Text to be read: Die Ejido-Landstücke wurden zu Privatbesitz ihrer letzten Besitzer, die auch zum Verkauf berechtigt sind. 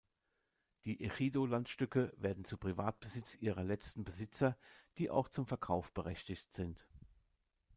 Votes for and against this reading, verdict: 1, 2, rejected